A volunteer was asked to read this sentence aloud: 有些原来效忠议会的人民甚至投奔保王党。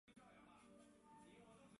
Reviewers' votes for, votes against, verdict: 0, 2, rejected